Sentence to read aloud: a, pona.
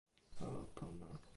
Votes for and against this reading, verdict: 1, 2, rejected